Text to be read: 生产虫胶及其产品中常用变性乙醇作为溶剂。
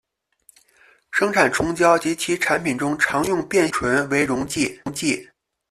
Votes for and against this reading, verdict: 0, 2, rejected